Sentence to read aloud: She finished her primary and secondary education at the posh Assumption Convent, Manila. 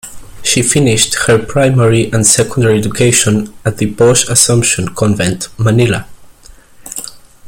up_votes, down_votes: 2, 1